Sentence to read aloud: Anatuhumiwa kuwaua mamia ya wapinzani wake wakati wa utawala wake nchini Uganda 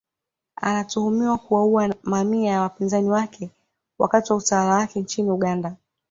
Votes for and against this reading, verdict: 0, 2, rejected